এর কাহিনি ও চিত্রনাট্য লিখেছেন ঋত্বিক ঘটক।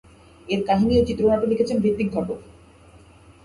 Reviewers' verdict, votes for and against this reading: rejected, 2, 4